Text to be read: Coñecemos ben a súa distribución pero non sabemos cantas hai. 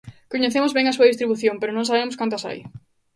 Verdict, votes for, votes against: accepted, 2, 0